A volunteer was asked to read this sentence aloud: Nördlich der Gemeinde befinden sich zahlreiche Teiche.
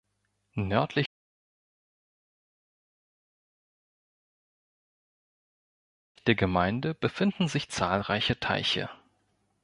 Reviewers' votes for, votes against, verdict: 0, 2, rejected